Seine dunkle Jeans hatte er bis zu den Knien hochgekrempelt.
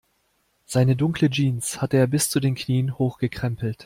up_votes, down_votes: 2, 0